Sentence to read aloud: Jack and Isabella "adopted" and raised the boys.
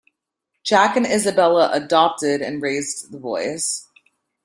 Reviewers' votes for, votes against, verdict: 2, 0, accepted